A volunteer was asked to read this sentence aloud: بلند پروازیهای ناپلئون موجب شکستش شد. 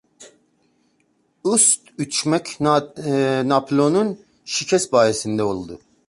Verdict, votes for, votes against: rejected, 0, 2